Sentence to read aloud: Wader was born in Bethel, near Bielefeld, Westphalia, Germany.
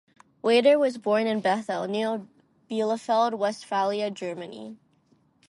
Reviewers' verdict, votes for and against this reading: rejected, 2, 2